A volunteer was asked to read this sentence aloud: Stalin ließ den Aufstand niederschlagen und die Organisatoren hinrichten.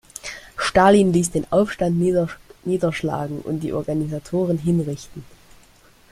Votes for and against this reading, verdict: 2, 1, accepted